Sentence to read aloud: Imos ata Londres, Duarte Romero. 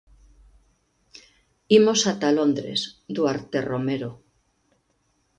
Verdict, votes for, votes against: accepted, 2, 0